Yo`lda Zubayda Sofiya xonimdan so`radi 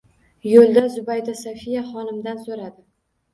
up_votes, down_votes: 2, 0